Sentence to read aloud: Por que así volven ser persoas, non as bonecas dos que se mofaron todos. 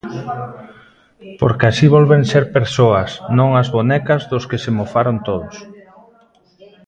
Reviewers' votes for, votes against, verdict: 0, 2, rejected